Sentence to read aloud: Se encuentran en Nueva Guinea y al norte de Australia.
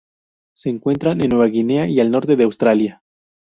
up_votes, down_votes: 2, 2